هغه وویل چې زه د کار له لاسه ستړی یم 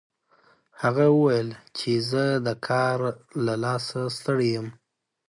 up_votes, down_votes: 2, 0